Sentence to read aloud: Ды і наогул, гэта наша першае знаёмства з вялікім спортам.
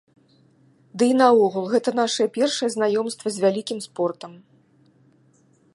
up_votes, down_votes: 3, 0